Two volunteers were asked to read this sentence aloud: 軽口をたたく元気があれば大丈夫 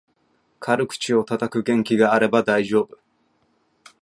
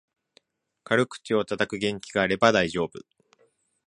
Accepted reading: second